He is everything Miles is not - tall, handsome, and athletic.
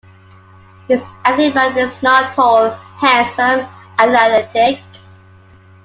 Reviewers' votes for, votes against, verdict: 0, 2, rejected